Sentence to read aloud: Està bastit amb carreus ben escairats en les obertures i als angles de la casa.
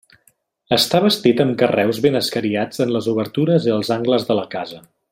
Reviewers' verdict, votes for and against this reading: rejected, 1, 2